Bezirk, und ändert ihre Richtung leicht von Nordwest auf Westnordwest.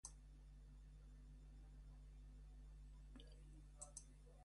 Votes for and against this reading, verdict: 0, 2, rejected